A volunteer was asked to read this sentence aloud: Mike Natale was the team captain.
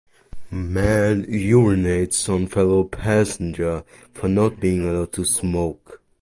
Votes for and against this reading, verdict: 0, 2, rejected